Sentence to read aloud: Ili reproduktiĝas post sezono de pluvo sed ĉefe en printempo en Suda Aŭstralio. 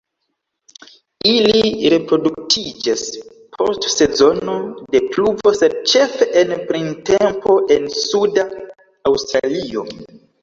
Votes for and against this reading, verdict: 1, 2, rejected